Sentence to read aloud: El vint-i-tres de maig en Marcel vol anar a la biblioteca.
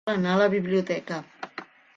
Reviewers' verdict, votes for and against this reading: rejected, 1, 2